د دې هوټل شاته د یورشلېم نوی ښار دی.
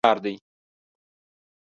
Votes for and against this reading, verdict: 0, 2, rejected